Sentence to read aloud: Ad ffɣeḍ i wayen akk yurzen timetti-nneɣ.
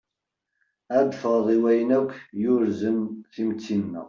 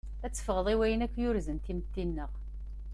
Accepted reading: second